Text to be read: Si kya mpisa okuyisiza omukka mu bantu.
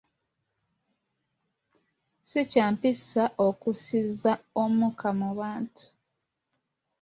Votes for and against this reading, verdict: 1, 2, rejected